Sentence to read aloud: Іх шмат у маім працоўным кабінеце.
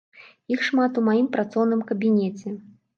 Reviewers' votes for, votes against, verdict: 2, 0, accepted